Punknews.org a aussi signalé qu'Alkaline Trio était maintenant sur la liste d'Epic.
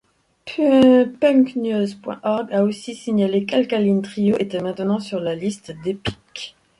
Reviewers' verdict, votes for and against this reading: rejected, 1, 2